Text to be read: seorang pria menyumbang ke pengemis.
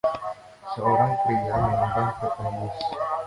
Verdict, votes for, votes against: rejected, 1, 2